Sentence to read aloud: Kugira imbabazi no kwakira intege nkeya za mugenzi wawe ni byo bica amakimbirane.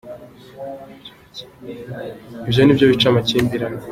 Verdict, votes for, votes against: rejected, 0, 2